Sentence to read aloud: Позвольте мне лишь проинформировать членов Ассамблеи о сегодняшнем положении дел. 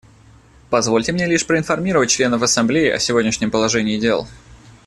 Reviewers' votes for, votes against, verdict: 2, 0, accepted